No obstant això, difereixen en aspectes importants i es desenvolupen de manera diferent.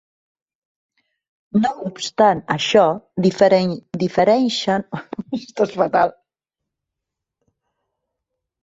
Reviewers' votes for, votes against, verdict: 0, 3, rejected